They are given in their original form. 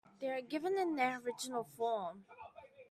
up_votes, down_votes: 1, 2